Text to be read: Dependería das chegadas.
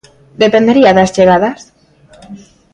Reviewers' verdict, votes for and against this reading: accepted, 2, 0